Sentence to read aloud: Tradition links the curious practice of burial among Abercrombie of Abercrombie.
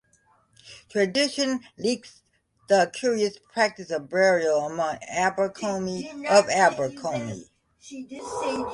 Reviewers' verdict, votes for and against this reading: rejected, 0, 2